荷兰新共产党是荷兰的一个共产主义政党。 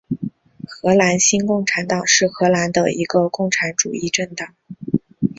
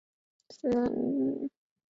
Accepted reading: first